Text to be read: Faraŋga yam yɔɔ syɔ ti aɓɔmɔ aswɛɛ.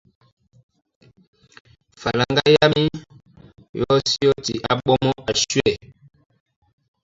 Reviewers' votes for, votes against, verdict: 0, 2, rejected